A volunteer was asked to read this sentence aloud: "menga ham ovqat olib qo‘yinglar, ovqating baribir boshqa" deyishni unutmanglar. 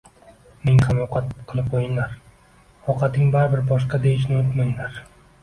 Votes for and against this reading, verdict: 1, 2, rejected